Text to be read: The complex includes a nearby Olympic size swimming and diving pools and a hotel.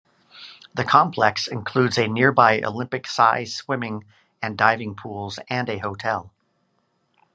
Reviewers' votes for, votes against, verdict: 2, 0, accepted